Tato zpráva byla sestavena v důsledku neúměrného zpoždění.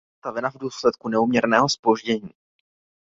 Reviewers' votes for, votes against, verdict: 0, 2, rejected